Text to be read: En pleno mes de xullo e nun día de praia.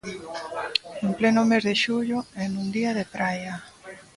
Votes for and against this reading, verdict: 1, 2, rejected